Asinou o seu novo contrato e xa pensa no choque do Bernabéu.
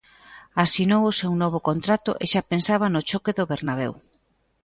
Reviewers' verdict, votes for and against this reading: rejected, 0, 2